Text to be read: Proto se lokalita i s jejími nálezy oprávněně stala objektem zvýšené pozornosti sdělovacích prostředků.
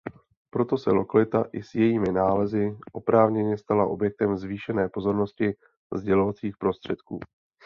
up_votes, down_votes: 2, 0